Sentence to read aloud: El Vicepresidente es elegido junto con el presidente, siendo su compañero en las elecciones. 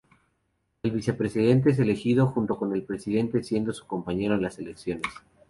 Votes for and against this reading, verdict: 4, 0, accepted